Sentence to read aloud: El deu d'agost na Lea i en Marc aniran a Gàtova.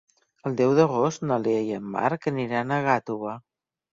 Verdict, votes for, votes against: accepted, 2, 0